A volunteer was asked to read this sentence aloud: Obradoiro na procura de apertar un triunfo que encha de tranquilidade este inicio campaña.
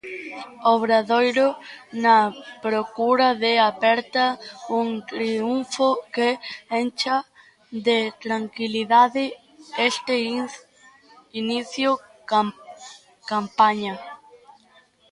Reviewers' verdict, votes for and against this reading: rejected, 0, 2